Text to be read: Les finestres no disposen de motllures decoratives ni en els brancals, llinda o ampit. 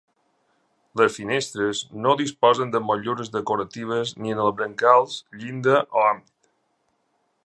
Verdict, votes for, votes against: accepted, 2, 1